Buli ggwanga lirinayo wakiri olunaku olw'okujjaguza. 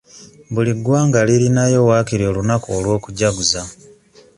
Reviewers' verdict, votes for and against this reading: accepted, 2, 0